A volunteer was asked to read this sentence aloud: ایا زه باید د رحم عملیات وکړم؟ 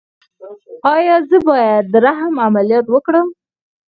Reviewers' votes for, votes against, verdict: 4, 0, accepted